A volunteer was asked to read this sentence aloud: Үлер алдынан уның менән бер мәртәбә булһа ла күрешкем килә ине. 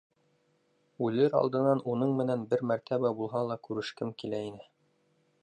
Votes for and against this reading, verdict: 0, 2, rejected